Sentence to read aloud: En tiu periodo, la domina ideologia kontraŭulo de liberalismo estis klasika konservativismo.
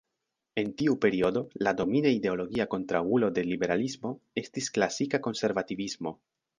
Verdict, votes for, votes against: accepted, 2, 1